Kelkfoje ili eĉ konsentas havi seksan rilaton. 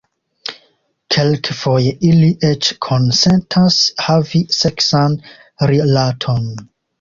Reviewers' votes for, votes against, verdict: 2, 0, accepted